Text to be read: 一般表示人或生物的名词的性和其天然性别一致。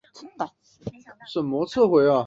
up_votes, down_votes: 2, 3